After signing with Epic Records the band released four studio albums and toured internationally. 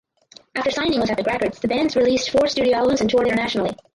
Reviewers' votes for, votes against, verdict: 2, 4, rejected